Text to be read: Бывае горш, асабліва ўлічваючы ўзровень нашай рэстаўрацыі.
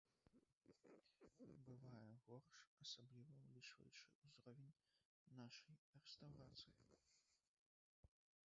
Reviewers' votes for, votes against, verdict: 1, 2, rejected